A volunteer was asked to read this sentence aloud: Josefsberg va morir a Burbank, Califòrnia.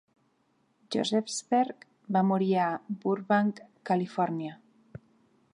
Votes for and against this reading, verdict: 2, 0, accepted